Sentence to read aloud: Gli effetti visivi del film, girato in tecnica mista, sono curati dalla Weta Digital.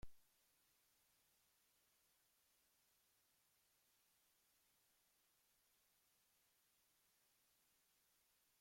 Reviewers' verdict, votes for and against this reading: rejected, 0, 2